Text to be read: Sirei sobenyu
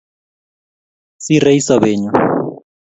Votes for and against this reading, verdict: 2, 0, accepted